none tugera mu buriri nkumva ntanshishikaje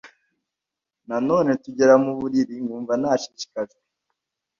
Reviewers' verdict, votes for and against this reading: rejected, 1, 2